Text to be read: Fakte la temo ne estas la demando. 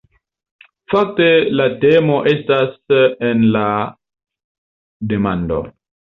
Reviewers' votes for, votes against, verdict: 2, 0, accepted